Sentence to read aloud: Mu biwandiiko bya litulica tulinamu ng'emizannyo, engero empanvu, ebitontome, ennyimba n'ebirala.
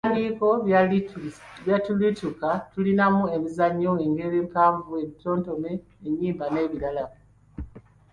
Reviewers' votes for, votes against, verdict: 0, 2, rejected